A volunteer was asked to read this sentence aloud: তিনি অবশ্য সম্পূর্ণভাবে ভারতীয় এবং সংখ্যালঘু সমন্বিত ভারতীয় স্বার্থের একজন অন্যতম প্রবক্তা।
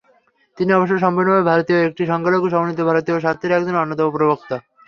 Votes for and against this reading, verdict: 3, 0, accepted